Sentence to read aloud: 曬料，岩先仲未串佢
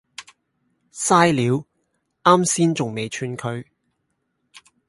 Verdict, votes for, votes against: rejected, 2, 2